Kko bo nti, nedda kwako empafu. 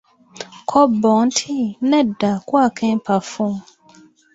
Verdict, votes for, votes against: accepted, 2, 0